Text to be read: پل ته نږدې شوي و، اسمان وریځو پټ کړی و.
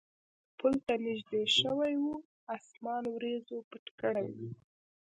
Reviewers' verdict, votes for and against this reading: accepted, 2, 0